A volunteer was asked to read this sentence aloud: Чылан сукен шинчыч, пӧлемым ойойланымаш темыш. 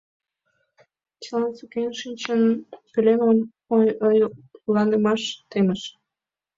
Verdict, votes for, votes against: rejected, 1, 2